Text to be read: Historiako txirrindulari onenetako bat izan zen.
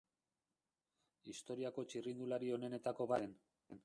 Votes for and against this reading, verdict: 0, 2, rejected